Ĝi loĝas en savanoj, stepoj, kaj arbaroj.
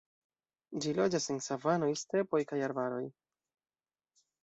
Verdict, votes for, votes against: accepted, 3, 0